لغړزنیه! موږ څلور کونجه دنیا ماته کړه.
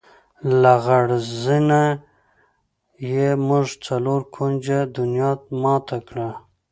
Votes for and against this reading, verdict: 2, 0, accepted